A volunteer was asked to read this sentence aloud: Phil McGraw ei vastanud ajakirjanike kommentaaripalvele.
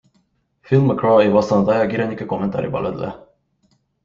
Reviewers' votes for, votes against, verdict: 3, 0, accepted